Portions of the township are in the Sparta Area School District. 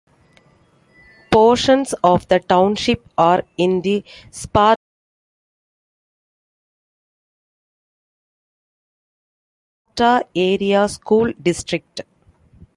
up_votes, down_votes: 1, 2